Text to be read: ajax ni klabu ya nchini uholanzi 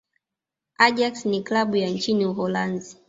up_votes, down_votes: 2, 1